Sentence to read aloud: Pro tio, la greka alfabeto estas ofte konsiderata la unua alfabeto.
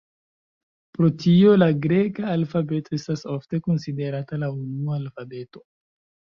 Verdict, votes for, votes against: accepted, 2, 0